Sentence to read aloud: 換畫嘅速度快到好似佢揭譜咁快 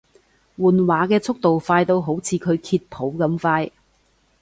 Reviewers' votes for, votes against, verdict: 2, 0, accepted